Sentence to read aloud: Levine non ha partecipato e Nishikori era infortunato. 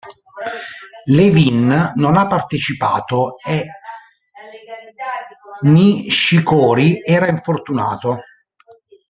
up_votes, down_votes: 0, 2